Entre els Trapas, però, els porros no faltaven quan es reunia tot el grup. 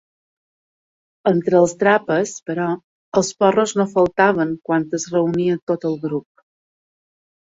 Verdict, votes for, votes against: accepted, 2, 0